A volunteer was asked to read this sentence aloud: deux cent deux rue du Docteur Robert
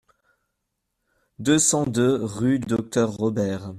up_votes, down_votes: 1, 2